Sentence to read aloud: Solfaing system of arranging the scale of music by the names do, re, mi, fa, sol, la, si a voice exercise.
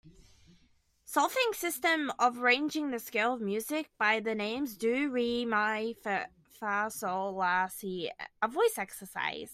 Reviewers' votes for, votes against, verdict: 0, 2, rejected